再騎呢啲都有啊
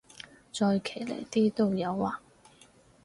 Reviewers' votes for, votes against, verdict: 4, 0, accepted